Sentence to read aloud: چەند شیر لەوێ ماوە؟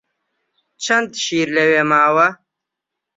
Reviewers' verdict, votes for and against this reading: accepted, 2, 0